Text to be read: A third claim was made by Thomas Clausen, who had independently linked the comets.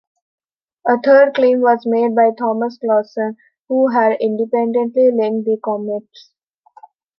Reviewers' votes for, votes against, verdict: 2, 0, accepted